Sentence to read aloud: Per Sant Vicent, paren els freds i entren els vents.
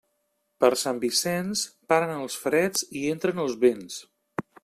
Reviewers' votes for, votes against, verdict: 1, 2, rejected